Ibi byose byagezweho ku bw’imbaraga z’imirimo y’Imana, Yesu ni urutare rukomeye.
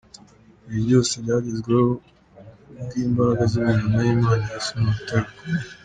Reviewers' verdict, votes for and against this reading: accepted, 5, 3